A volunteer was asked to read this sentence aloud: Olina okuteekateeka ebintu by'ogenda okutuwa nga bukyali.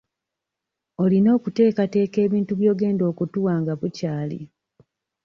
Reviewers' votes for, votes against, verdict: 2, 0, accepted